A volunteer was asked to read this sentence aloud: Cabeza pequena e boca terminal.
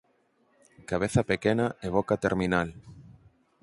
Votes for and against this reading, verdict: 4, 0, accepted